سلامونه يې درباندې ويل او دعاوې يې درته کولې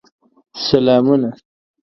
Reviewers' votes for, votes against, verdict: 0, 2, rejected